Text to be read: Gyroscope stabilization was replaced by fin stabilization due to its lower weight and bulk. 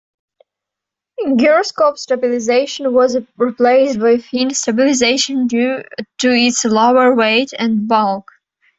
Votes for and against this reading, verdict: 1, 2, rejected